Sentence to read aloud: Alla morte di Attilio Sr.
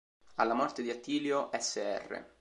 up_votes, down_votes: 1, 2